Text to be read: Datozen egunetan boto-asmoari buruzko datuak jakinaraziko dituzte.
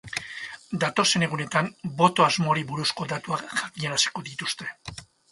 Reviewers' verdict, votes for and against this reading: accepted, 4, 2